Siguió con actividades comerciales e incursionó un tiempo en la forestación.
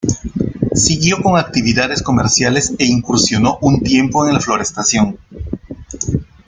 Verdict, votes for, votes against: rejected, 0, 2